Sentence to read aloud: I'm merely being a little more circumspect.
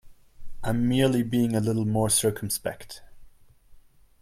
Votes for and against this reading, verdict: 2, 0, accepted